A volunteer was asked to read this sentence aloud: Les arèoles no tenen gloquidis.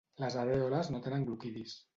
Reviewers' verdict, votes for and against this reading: rejected, 1, 2